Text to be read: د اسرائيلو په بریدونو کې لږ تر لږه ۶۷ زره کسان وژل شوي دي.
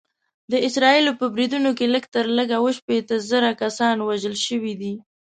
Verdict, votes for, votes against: rejected, 0, 2